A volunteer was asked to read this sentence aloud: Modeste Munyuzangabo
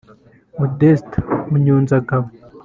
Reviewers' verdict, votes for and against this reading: rejected, 1, 2